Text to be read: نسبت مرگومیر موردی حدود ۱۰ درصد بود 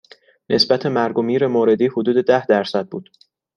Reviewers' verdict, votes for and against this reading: rejected, 0, 2